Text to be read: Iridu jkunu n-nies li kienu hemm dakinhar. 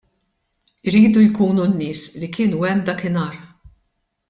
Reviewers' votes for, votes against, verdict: 2, 0, accepted